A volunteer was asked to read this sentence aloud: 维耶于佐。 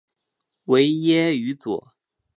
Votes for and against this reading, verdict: 7, 1, accepted